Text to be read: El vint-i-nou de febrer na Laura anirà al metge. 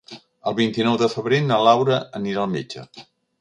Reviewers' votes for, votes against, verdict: 4, 0, accepted